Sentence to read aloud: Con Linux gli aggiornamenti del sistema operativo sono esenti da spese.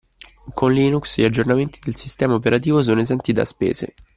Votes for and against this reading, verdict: 1, 2, rejected